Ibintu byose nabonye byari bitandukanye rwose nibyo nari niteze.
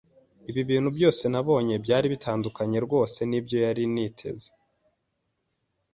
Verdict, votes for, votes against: rejected, 1, 2